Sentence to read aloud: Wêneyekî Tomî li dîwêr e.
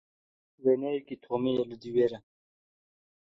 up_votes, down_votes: 2, 1